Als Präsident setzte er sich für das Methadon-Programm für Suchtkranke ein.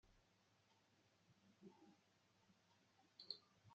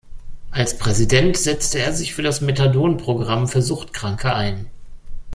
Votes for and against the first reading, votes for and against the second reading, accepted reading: 0, 2, 2, 0, second